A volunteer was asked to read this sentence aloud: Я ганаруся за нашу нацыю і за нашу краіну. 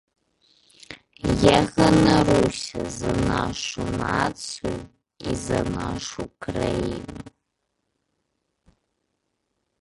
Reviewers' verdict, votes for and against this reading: rejected, 1, 2